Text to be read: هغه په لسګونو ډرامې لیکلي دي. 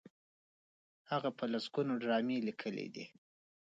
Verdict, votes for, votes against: rejected, 1, 2